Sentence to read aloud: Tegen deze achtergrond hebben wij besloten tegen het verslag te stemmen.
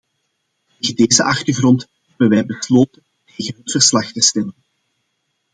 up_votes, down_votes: 0, 2